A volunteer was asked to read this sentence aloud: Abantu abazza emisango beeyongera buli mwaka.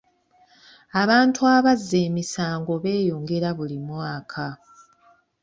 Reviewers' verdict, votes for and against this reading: accepted, 2, 0